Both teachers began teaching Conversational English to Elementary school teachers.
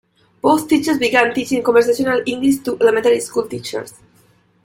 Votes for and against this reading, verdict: 0, 2, rejected